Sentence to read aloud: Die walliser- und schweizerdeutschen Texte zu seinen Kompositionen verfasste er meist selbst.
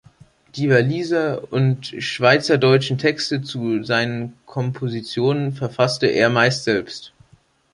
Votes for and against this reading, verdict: 3, 0, accepted